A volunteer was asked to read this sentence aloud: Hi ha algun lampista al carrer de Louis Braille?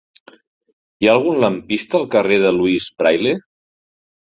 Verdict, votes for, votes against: accepted, 2, 0